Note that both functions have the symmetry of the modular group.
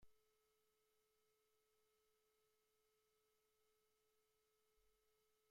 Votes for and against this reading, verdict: 0, 2, rejected